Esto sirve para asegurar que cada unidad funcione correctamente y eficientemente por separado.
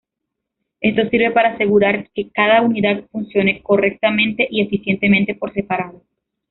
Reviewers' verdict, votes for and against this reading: rejected, 1, 2